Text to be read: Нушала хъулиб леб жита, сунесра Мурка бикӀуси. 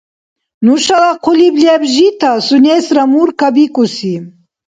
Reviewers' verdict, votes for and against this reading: accepted, 2, 0